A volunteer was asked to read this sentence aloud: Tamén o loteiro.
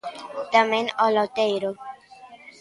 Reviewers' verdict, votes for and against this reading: accepted, 3, 0